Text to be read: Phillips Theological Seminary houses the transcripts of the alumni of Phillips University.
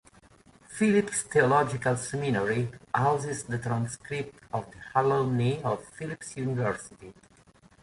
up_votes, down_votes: 2, 1